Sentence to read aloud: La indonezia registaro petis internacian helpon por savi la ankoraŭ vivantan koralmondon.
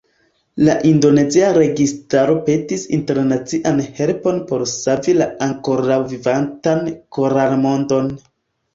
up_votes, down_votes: 1, 2